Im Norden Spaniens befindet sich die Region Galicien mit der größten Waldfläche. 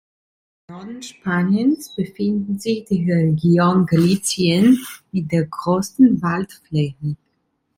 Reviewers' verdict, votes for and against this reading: rejected, 0, 2